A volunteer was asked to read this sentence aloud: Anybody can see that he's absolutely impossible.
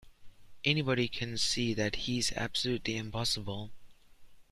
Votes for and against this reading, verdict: 2, 0, accepted